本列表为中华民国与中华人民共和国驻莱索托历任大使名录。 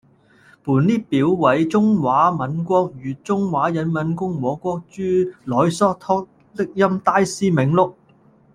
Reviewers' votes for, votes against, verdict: 1, 2, rejected